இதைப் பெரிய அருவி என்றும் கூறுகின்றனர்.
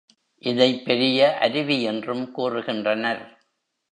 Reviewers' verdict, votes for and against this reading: accepted, 2, 0